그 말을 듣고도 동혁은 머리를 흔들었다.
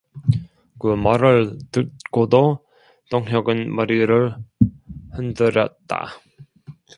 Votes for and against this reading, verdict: 0, 2, rejected